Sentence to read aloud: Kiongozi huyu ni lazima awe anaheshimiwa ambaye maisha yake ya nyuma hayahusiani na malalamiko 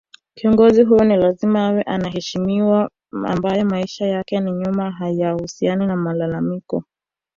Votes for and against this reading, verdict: 1, 2, rejected